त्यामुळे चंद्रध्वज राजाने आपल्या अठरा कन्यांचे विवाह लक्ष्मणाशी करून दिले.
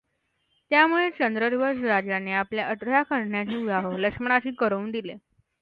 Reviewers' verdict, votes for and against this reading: accepted, 2, 0